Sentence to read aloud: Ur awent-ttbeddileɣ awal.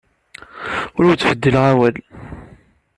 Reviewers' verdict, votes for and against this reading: rejected, 1, 2